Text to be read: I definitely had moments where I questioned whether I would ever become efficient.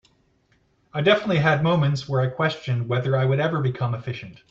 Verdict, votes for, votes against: accepted, 2, 0